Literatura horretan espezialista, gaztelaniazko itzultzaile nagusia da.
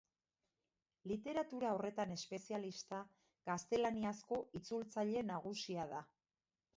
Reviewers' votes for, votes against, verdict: 2, 0, accepted